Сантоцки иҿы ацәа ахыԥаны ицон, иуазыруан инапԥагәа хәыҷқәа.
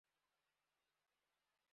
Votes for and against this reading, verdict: 0, 2, rejected